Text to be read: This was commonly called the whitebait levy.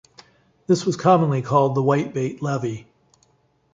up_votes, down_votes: 2, 0